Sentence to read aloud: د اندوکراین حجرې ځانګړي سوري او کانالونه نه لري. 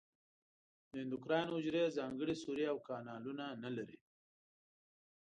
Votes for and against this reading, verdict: 1, 2, rejected